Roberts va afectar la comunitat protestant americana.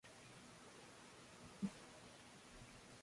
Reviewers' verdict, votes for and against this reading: rejected, 0, 2